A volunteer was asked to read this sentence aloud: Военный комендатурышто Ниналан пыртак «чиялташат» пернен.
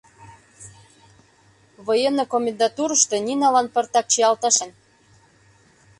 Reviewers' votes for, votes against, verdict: 0, 2, rejected